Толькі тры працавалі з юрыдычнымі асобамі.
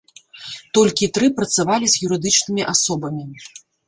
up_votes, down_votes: 1, 2